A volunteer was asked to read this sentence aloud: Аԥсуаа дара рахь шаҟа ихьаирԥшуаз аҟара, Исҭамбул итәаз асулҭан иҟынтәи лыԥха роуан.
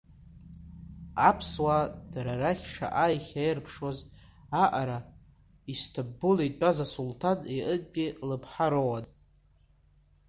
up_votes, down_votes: 1, 2